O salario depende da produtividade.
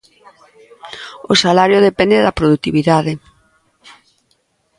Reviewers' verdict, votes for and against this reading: accepted, 2, 0